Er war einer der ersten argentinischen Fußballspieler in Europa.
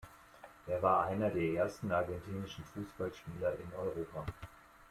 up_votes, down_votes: 2, 0